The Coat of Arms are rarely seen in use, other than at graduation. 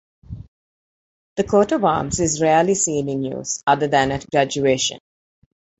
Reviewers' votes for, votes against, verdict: 1, 2, rejected